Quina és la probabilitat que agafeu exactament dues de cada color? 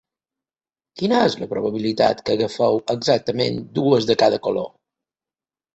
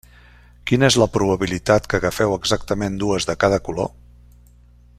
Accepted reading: first